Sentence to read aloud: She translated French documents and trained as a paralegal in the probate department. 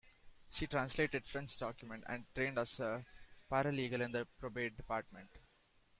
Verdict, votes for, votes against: rejected, 0, 2